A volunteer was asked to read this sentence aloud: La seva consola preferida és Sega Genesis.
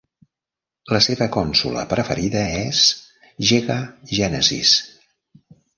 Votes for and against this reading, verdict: 0, 2, rejected